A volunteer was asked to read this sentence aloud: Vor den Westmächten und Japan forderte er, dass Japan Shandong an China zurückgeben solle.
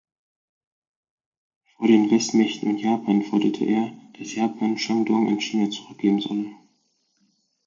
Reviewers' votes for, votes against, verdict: 4, 0, accepted